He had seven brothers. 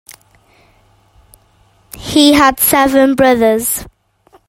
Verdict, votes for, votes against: accepted, 2, 0